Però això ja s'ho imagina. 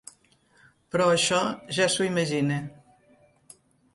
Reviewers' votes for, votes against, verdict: 2, 0, accepted